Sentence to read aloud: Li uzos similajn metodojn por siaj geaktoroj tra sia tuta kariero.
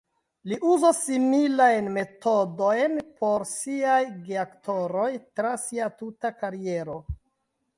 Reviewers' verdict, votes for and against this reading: rejected, 0, 2